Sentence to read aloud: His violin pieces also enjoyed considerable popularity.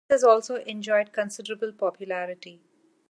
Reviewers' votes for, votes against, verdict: 0, 2, rejected